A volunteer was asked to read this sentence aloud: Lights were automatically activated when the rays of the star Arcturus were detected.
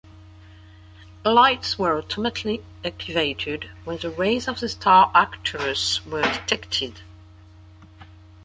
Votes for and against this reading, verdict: 2, 1, accepted